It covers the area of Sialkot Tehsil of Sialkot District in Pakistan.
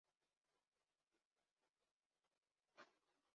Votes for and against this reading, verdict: 0, 2, rejected